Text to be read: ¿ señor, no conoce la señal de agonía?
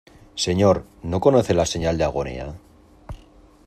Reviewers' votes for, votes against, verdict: 2, 0, accepted